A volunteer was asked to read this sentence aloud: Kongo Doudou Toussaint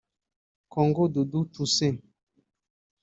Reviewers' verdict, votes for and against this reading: rejected, 0, 2